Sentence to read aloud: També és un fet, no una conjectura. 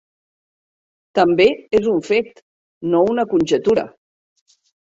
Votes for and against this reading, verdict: 1, 2, rejected